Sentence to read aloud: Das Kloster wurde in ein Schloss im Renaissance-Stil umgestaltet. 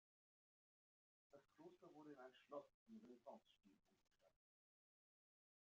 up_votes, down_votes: 0, 2